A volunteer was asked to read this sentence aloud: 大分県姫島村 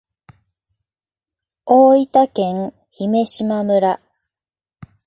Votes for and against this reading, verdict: 17, 0, accepted